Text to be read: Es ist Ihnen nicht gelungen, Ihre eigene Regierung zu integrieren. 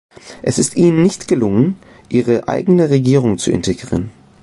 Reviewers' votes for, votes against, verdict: 2, 0, accepted